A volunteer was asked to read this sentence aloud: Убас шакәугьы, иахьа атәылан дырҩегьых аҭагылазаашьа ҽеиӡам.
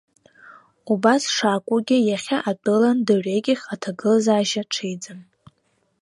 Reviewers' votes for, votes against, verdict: 1, 2, rejected